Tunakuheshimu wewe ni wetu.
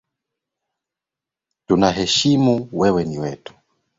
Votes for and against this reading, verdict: 0, 2, rejected